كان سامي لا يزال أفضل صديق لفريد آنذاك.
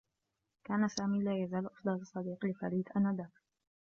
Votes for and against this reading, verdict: 1, 2, rejected